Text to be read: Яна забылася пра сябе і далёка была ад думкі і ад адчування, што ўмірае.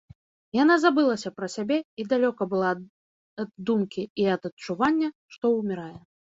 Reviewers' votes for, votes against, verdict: 0, 2, rejected